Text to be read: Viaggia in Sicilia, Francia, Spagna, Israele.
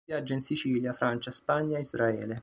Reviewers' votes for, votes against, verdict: 2, 0, accepted